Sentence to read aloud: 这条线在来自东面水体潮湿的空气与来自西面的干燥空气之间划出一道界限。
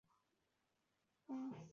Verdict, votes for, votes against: rejected, 0, 7